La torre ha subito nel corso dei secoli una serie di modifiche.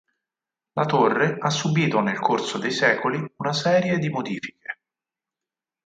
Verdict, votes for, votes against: accepted, 4, 0